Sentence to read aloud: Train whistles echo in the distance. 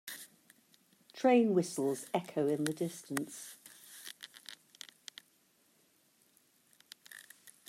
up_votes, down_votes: 2, 1